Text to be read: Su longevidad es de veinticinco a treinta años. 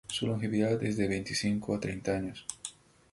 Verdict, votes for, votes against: accepted, 2, 0